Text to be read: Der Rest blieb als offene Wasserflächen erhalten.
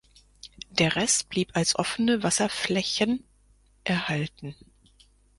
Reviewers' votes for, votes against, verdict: 4, 0, accepted